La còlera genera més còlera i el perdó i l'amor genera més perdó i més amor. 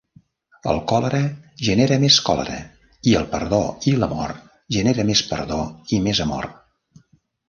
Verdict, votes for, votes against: rejected, 0, 2